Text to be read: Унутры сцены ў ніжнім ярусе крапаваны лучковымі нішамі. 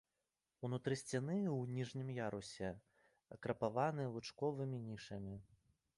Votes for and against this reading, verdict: 4, 5, rejected